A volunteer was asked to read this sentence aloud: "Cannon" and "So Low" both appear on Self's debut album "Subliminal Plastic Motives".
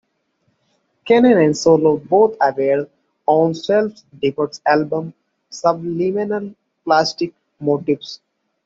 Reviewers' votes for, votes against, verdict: 1, 2, rejected